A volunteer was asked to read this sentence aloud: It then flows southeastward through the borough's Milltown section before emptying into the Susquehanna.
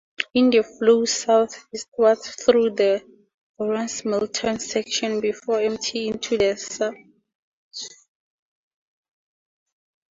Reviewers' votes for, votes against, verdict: 0, 4, rejected